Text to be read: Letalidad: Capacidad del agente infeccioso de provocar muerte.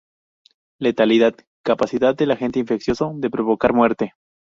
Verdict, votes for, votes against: accepted, 2, 0